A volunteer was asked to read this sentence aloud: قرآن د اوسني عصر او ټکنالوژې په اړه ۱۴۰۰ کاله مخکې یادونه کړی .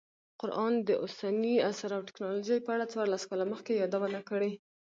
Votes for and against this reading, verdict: 0, 2, rejected